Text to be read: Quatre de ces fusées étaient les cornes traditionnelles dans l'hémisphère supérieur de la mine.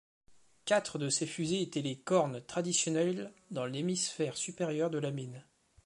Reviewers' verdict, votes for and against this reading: accepted, 2, 0